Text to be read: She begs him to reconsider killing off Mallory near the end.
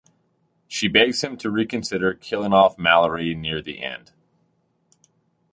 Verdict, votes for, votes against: accepted, 2, 0